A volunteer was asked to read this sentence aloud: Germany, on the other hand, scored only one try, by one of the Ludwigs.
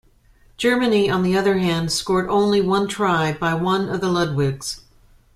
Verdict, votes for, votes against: accepted, 2, 0